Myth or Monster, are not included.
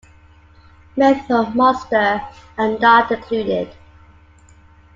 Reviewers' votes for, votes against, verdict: 0, 2, rejected